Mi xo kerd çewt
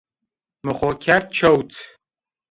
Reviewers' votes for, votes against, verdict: 2, 0, accepted